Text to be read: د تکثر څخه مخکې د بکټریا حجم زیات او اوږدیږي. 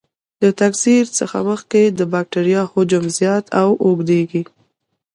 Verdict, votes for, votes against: accepted, 2, 0